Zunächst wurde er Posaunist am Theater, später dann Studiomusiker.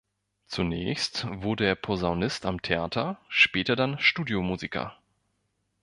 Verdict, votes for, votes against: accepted, 2, 0